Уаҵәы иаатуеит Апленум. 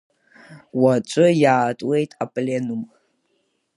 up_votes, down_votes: 2, 0